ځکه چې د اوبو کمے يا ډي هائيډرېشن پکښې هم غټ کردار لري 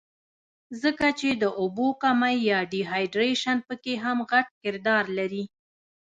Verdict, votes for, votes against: rejected, 0, 2